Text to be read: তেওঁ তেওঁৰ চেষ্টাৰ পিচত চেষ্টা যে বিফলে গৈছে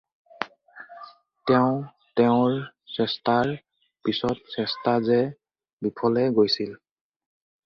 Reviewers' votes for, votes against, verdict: 0, 4, rejected